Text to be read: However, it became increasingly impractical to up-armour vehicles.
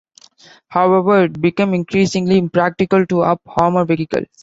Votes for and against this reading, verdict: 1, 2, rejected